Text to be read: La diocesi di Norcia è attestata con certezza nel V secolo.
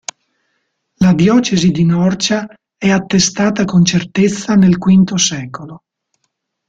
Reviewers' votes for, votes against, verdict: 2, 0, accepted